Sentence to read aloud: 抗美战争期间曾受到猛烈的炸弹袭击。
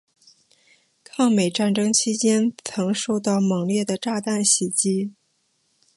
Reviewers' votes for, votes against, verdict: 2, 0, accepted